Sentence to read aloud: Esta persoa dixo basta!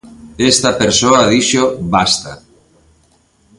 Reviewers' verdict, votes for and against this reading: accepted, 2, 0